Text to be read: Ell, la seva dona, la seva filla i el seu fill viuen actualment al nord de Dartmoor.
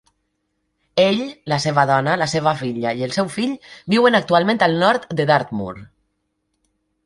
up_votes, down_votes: 2, 0